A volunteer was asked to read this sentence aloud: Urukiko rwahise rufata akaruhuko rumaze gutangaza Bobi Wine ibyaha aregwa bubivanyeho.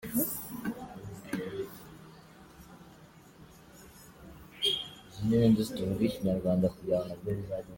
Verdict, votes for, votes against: rejected, 0, 2